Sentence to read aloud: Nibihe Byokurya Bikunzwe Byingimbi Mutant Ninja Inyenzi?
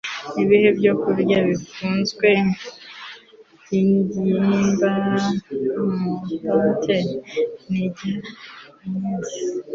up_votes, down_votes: 1, 2